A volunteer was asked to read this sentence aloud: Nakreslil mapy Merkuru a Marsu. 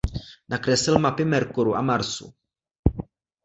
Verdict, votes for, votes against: accepted, 2, 0